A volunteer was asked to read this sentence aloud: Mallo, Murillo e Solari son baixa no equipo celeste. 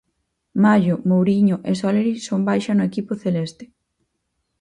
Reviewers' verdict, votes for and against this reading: rejected, 0, 4